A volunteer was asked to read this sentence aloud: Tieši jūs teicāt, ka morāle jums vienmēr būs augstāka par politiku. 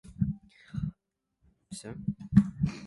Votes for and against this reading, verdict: 0, 2, rejected